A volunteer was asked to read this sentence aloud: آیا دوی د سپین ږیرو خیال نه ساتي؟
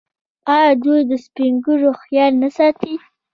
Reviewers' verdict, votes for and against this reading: accepted, 2, 1